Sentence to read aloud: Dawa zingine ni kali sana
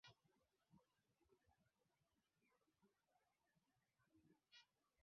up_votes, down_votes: 0, 2